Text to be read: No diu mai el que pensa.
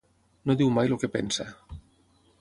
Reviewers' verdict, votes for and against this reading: rejected, 0, 6